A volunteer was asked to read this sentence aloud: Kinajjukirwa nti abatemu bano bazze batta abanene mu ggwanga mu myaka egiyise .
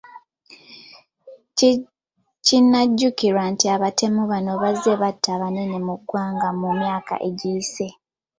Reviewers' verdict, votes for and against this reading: accepted, 2, 1